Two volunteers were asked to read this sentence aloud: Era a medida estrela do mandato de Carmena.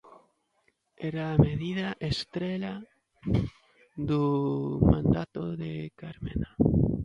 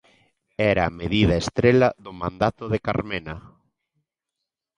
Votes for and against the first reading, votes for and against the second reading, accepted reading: 1, 2, 2, 0, second